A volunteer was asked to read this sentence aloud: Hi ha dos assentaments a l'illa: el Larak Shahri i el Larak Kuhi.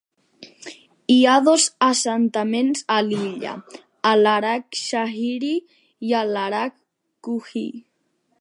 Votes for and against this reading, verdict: 2, 0, accepted